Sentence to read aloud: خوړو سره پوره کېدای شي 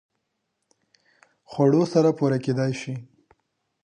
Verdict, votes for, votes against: accepted, 2, 0